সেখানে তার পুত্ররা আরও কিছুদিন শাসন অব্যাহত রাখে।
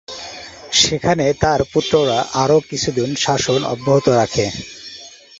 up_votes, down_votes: 4, 0